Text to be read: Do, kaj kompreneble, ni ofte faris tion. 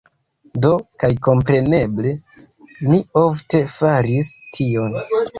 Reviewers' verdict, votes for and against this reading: accepted, 3, 2